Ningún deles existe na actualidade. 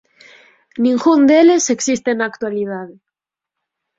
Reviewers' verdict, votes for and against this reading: accepted, 4, 0